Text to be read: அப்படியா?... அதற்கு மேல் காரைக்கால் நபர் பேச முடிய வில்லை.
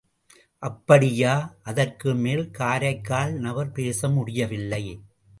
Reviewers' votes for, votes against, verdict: 2, 0, accepted